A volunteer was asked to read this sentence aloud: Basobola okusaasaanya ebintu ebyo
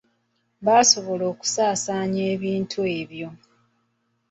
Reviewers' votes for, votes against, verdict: 1, 2, rejected